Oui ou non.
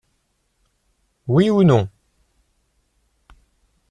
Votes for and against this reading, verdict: 2, 0, accepted